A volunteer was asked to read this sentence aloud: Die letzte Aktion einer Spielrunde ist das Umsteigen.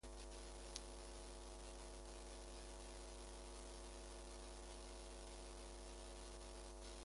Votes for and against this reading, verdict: 0, 2, rejected